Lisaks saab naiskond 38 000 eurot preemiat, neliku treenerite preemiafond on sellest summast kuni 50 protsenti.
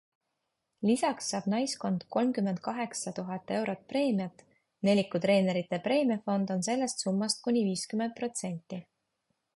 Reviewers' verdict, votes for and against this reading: rejected, 0, 2